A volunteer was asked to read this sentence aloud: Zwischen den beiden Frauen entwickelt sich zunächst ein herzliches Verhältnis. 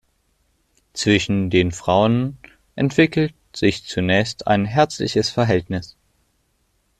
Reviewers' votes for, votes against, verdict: 0, 2, rejected